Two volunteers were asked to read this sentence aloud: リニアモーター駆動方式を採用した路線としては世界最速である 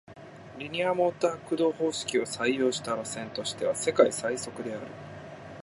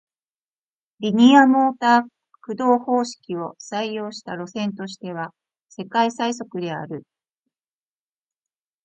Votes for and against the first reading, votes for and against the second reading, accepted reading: 2, 0, 0, 2, first